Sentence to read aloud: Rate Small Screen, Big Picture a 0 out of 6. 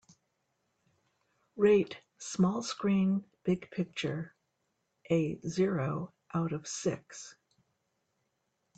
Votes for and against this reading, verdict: 0, 2, rejected